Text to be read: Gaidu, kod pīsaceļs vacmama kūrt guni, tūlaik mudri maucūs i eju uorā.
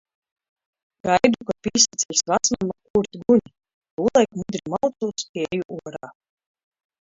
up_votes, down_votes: 0, 2